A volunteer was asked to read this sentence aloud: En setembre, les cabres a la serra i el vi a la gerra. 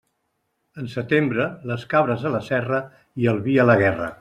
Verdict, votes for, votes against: rejected, 0, 2